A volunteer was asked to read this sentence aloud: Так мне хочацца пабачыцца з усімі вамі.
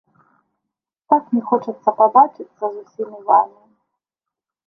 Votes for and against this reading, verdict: 1, 2, rejected